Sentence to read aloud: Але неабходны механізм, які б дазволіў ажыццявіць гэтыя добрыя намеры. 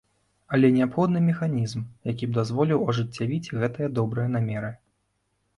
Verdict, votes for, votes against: accepted, 2, 0